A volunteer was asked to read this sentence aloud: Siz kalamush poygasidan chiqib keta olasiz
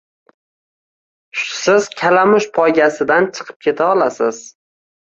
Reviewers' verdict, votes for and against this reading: accepted, 2, 0